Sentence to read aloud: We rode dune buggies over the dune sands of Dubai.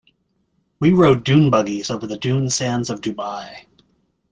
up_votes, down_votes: 2, 0